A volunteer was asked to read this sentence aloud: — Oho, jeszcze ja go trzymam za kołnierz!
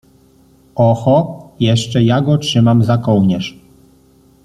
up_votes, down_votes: 2, 0